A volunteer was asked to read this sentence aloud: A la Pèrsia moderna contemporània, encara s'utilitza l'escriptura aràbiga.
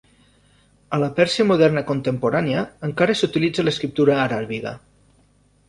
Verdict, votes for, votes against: accepted, 2, 0